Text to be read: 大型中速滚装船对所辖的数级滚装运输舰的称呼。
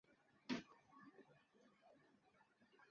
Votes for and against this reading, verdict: 1, 3, rejected